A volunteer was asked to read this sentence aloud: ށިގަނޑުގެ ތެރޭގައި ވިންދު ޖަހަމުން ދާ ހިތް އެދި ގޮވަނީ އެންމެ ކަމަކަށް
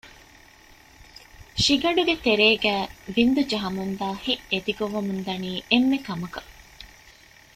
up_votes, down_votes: 1, 2